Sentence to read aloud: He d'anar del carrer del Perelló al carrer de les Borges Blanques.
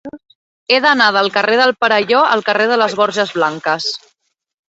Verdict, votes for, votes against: accepted, 3, 1